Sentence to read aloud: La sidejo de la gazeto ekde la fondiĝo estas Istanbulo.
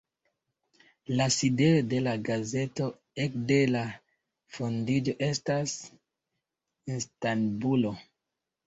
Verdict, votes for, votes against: accepted, 2, 0